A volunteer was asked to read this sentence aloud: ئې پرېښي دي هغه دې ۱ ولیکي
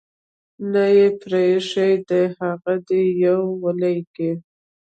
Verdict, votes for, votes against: rejected, 0, 2